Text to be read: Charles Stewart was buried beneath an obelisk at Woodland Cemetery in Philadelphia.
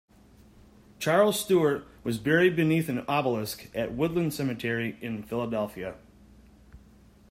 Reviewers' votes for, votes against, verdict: 2, 0, accepted